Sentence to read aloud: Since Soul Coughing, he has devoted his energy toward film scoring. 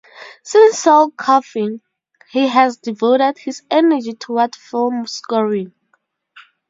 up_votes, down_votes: 0, 2